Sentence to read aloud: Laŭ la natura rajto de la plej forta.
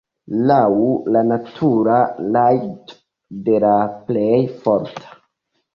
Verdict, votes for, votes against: accepted, 2, 1